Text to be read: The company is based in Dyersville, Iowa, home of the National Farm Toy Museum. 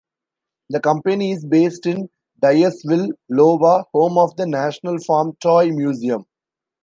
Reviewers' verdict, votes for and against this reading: rejected, 0, 2